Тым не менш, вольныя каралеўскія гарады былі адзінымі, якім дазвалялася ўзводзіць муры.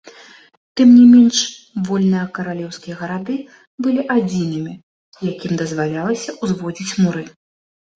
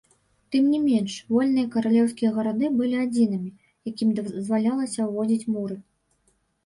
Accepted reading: first